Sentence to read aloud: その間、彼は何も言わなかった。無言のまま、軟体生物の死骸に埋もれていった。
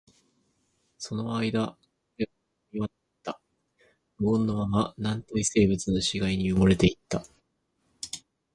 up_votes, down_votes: 2, 0